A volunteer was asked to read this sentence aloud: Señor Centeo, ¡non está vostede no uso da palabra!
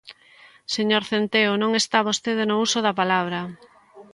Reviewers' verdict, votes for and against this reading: accepted, 2, 0